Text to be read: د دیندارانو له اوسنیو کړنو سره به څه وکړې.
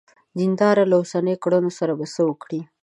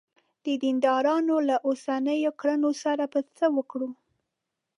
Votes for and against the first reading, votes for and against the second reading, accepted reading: 2, 0, 0, 2, first